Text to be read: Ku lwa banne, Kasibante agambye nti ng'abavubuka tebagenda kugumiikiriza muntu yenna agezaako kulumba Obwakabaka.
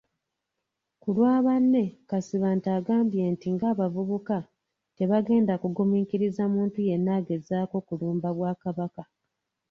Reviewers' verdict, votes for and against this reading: rejected, 0, 2